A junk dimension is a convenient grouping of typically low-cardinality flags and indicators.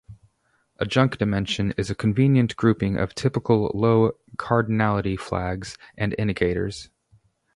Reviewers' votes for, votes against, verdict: 4, 0, accepted